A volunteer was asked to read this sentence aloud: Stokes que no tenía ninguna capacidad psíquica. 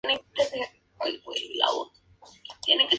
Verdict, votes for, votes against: rejected, 0, 2